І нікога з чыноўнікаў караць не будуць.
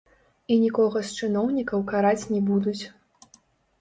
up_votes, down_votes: 1, 2